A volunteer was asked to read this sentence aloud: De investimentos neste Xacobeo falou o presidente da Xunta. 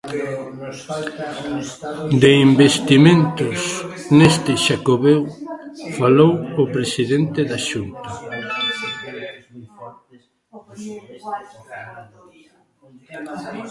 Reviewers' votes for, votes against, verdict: 1, 3, rejected